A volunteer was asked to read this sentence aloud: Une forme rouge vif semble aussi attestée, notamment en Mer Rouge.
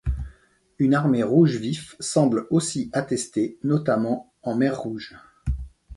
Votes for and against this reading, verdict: 0, 2, rejected